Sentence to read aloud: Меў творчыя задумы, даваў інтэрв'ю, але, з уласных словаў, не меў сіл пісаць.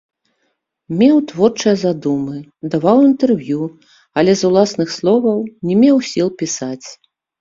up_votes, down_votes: 0, 2